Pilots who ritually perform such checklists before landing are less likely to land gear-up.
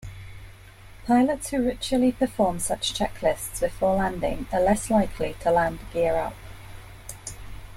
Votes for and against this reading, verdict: 2, 0, accepted